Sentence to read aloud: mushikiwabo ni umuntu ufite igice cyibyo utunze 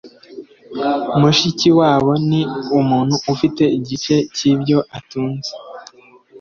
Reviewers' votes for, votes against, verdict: 2, 0, accepted